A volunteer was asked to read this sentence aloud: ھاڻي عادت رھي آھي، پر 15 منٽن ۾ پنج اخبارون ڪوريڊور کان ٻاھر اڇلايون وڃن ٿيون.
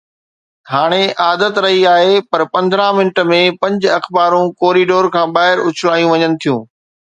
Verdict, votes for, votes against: rejected, 0, 2